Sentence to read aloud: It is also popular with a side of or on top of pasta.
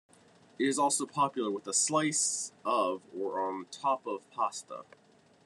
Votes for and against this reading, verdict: 1, 2, rejected